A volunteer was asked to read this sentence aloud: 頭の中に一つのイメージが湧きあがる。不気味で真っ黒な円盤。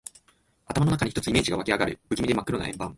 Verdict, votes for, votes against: rejected, 1, 2